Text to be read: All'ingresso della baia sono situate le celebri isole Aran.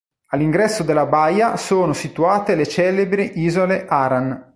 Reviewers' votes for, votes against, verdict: 2, 0, accepted